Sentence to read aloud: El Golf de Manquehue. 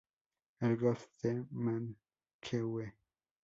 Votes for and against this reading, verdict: 0, 2, rejected